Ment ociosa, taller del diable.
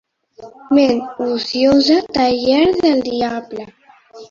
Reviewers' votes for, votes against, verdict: 1, 2, rejected